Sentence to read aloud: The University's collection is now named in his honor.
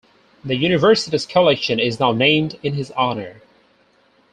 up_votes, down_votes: 2, 2